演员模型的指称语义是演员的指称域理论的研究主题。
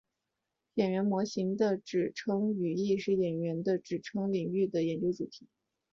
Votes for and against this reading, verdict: 3, 0, accepted